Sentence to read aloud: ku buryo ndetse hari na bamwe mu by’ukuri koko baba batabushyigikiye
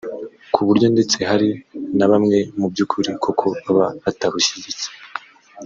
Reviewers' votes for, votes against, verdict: 1, 2, rejected